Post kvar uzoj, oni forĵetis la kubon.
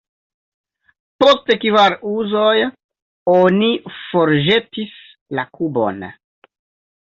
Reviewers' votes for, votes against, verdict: 1, 2, rejected